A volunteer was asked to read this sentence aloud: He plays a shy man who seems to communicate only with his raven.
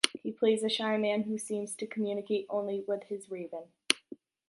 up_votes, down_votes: 2, 0